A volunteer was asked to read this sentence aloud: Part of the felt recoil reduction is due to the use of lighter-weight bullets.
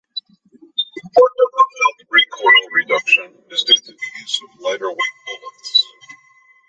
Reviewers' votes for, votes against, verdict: 0, 2, rejected